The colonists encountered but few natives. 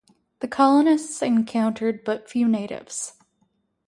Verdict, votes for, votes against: accepted, 4, 0